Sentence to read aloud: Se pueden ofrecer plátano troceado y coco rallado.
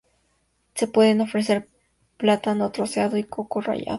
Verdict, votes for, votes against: accepted, 4, 0